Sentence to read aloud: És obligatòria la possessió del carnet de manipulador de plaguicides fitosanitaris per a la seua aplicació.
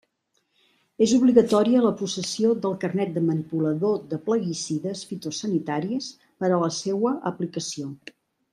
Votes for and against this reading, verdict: 2, 0, accepted